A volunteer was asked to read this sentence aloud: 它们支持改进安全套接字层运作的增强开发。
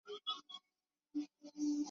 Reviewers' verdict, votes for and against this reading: rejected, 0, 3